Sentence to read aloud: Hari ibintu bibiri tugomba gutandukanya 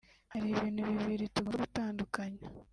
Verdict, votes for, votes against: rejected, 1, 2